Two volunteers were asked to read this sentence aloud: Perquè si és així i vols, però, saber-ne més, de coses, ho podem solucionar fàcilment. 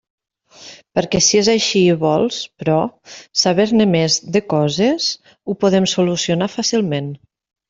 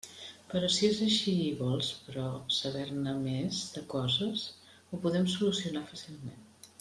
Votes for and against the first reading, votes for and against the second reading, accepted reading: 3, 0, 0, 2, first